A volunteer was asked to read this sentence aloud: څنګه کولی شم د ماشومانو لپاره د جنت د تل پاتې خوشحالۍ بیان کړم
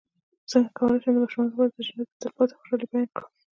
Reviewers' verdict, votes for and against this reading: rejected, 0, 2